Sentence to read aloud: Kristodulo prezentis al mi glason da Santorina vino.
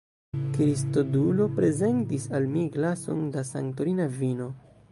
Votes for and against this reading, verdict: 0, 2, rejected